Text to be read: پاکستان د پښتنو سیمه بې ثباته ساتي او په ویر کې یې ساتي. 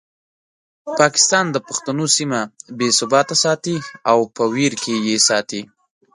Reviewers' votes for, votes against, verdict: 2, 0, accepted